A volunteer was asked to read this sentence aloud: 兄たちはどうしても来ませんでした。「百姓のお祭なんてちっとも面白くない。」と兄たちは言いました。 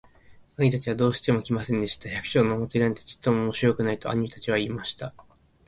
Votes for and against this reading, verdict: 2, 0, accepted